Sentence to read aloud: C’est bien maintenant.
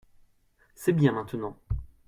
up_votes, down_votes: 2, 0